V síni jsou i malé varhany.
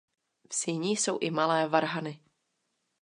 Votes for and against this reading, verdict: 2, 0, accepted